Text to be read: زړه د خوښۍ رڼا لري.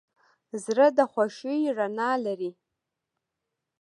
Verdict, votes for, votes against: accepted, 2, 0